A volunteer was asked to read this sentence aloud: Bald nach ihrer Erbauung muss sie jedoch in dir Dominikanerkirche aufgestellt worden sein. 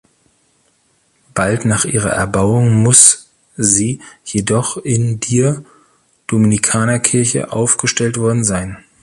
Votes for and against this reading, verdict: 2, 0, accepted